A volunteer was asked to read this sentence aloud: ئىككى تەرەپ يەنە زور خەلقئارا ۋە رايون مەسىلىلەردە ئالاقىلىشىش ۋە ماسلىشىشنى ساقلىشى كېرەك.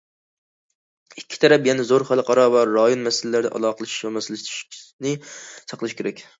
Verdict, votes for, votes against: rejected, 0, 2